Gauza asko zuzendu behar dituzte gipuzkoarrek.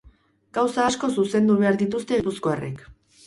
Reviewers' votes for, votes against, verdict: 2, 2, rejected